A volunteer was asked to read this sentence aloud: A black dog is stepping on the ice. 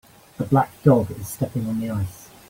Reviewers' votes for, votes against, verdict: 2, 0, accepted